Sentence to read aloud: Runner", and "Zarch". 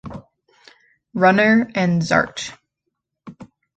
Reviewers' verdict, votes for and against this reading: rejected, 1, 2